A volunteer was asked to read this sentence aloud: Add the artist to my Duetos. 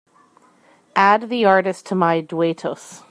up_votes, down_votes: 3, 0